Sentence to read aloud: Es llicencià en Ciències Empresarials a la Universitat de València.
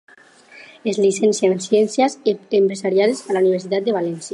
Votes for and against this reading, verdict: 2, 0, accepted